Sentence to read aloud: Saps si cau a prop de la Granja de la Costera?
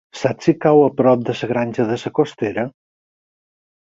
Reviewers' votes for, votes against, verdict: 4, 2, accepted